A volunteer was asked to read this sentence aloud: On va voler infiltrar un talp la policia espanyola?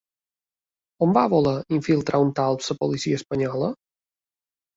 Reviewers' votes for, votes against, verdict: 1, 2, rejected